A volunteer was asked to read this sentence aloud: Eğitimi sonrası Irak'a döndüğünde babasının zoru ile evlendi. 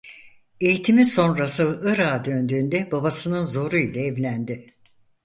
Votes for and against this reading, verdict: 4, 0, accepted